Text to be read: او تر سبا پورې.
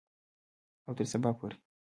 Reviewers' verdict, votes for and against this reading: accepted, 2, 1